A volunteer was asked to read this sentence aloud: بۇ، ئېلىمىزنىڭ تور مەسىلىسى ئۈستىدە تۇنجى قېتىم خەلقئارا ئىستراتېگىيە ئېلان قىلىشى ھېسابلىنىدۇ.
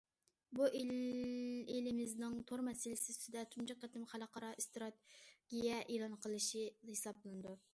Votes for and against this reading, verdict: 0, 2, rejected